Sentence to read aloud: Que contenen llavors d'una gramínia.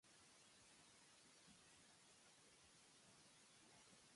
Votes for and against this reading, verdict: 0, 3, rejected